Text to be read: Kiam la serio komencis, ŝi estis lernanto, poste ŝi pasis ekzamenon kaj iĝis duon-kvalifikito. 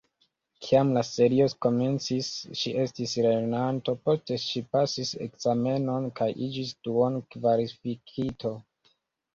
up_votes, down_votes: 1, 2